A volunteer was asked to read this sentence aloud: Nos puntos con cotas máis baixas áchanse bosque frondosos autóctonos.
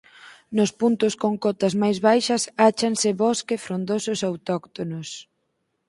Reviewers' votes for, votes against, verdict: 4, 0, accepted